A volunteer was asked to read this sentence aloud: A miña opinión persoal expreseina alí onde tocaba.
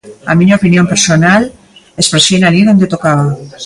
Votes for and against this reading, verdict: 0, 3, rejected